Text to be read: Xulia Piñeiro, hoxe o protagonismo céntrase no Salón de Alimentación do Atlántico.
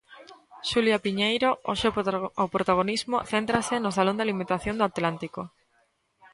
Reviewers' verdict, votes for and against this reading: rejected, 0, 2